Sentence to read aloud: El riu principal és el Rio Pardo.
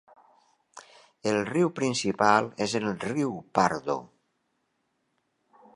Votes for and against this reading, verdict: 1, 2, rejected